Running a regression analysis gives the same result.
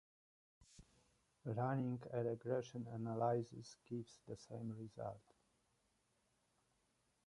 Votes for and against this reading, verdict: 1, 2, rejected